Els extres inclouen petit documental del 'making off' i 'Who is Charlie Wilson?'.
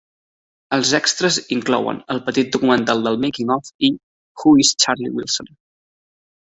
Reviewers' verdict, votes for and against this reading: rejected, 0, 2